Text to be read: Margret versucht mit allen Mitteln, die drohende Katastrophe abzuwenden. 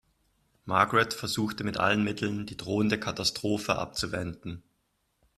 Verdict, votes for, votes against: rejected, 1, 2